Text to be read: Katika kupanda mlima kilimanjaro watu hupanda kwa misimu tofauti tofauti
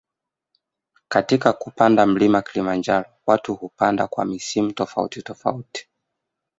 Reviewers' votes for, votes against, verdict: 2, 0, accepted